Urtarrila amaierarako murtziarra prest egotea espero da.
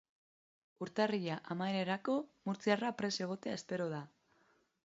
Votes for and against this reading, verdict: 1, 2, rejected